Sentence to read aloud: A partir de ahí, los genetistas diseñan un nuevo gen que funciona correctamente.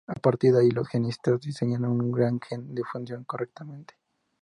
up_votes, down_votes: 2, 0